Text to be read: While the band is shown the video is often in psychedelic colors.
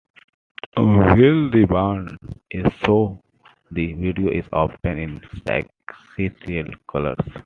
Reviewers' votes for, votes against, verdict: 1, 2, rejected